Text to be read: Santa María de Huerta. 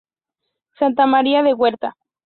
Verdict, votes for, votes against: accepted, 2, 0